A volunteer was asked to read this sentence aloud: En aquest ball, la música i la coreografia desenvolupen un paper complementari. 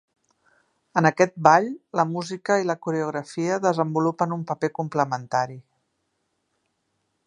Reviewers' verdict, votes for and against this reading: accepted, 2, 0